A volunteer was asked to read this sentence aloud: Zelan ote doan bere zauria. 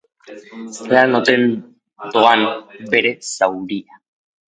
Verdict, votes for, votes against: rejected, 2, 3